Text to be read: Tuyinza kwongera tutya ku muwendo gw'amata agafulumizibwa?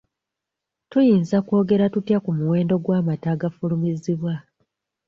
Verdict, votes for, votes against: rejected, 0, 2